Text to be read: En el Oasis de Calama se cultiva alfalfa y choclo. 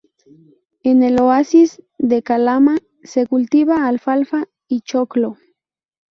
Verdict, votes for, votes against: rejected, 0, 2